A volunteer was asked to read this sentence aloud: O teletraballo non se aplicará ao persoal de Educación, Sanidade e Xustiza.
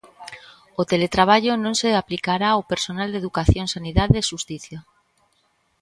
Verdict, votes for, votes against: rejected, 0, 2